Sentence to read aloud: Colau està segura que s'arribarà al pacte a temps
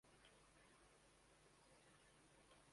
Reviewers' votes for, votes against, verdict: 0, 2, rejected